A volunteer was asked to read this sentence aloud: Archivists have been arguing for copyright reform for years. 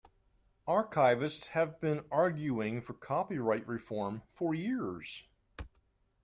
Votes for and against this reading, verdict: 2, 0, accepted